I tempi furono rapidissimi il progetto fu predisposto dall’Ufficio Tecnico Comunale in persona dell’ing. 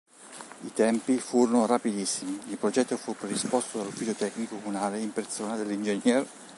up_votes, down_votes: 1, 3